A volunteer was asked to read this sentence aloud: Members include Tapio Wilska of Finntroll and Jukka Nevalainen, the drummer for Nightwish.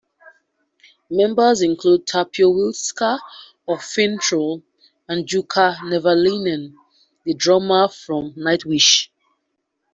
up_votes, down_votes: 3, 1